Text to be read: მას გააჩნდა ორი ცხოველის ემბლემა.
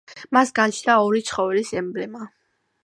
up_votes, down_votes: 2, 0